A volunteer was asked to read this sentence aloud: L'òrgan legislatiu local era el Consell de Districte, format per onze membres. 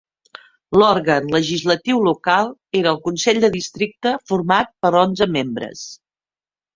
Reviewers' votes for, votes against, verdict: 3, 0, accepted